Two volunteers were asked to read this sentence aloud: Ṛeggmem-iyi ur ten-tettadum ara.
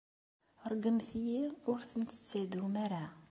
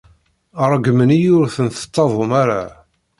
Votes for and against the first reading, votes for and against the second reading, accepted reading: 2, 0, 1, 2, first